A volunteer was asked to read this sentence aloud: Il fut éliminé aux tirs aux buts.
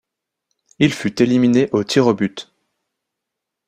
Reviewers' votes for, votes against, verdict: 2, 0, accepted